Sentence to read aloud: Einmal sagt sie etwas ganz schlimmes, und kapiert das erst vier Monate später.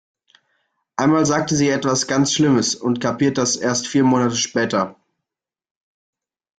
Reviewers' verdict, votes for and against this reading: rejected, 0, 2